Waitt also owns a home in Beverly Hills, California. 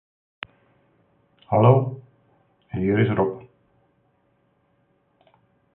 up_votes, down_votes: 0, 3